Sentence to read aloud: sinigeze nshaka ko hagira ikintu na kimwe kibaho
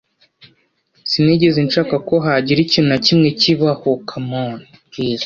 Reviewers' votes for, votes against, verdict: 1, 2, rejected